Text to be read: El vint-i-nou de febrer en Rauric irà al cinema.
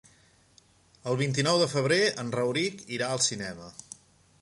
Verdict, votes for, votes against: accepted, 3, 1